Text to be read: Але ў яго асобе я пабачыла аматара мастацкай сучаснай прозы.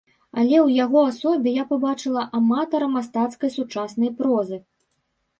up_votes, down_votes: 2, 0